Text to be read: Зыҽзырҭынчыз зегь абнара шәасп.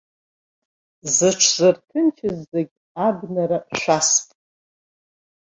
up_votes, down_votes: 1, 2